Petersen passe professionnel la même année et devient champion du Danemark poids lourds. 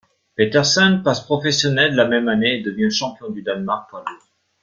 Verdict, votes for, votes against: rejected, 0, 2